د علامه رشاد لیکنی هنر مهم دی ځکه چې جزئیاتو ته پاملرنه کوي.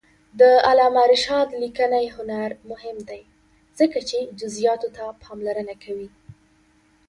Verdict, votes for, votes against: accepted, 2, 1